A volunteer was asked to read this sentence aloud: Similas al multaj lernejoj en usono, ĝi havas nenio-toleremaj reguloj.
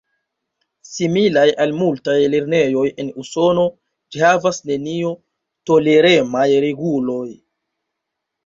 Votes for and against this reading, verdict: 2, 0, accepted